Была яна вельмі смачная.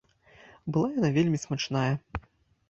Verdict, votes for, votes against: rejected, 0, 2